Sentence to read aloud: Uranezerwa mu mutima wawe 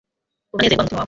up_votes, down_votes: 0, 2